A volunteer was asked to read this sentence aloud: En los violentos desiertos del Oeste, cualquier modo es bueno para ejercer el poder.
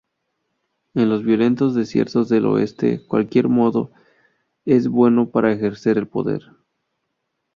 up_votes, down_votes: 0, 2